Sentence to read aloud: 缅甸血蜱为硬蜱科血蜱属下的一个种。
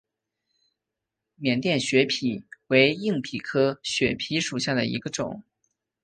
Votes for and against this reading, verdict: 2, 0, accepted